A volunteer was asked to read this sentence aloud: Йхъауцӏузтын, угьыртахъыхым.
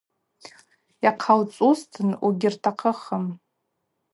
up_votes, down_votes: 2, 2